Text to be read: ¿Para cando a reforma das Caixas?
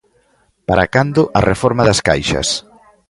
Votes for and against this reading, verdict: 2, 0, accepted